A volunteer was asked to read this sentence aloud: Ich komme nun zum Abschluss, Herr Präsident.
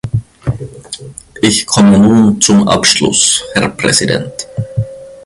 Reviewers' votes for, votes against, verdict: 2, 1, accepted